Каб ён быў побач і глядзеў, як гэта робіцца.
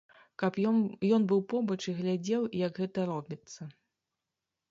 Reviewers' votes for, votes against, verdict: 1, 2, rejected